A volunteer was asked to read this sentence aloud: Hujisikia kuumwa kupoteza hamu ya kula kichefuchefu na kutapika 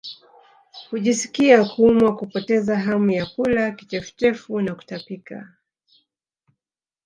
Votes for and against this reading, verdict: 1, 2, rejected